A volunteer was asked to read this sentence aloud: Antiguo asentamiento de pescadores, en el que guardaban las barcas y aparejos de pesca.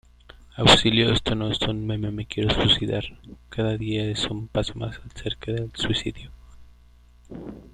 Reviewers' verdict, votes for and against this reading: rejected, 0, 2